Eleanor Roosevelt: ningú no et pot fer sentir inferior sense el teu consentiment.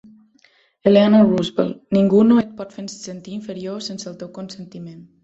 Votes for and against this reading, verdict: 1, 3, rejected